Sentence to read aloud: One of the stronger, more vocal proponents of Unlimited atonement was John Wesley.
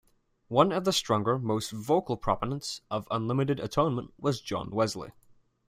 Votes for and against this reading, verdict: 2, 0, accepted